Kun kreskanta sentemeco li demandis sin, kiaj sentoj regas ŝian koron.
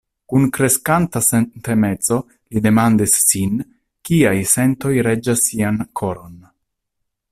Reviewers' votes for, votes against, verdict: 0, 2, rejected